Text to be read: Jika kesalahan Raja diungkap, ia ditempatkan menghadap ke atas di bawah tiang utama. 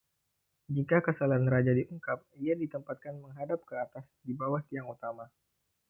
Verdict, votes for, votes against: accepted, 2, 0